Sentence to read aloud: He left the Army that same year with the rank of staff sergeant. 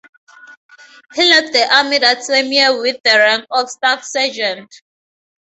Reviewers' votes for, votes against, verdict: 2, 2, rejected